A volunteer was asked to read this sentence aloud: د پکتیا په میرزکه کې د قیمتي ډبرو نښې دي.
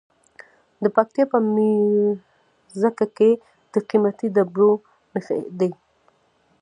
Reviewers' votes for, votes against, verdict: 0, 2, rejected